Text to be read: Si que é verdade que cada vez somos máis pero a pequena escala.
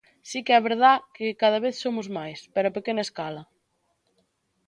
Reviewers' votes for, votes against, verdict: 0, 2, rejected